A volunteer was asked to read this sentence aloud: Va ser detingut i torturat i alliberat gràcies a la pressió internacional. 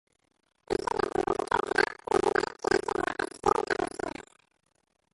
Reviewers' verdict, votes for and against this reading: rejected, 1, 2